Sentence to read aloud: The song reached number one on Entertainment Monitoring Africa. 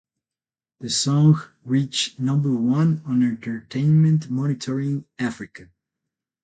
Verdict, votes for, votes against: accepted, 8, 0